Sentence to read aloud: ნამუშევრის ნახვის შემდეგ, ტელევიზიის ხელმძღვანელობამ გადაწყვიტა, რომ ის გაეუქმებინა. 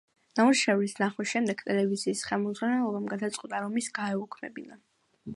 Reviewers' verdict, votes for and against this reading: accepted, 2, 1